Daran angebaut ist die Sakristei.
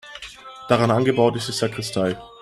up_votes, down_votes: 2, 1